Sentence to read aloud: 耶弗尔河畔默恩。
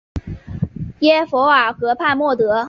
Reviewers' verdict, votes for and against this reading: accepted, 2, 0